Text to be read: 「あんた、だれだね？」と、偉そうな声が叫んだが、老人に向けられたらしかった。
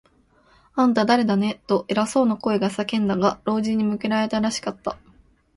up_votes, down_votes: 2, 0